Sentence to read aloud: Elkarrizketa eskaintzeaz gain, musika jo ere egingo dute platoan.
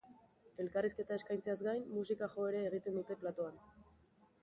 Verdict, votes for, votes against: accepted, 4, 0